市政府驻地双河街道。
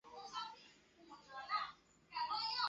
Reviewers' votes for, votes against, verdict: 0, 2, rejected